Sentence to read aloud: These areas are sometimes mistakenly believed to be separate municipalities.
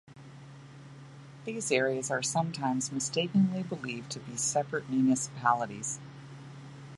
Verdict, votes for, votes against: accepted, 2, 0